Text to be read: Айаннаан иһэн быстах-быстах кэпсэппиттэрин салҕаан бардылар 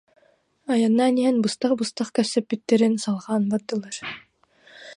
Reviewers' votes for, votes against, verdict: 0, 2, rejected